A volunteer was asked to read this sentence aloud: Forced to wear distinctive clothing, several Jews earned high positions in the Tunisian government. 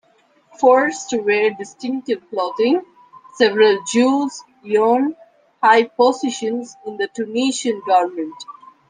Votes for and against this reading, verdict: 0, 2, rejected